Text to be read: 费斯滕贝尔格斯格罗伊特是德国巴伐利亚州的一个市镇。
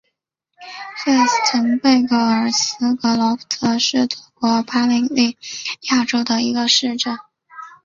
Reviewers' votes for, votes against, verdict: 1, 2, rejected